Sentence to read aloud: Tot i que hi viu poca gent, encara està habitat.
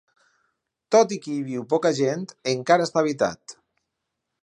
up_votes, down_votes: 4, 0